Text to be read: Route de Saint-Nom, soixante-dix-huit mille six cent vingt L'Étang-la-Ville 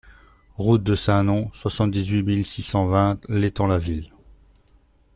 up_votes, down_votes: 2, 0